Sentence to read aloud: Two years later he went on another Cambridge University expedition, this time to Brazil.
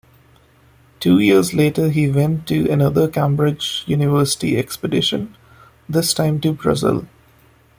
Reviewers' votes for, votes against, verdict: 1, 2, rejected